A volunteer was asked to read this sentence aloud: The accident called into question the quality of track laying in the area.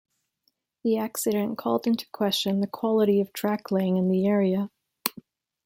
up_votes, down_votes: 2, 0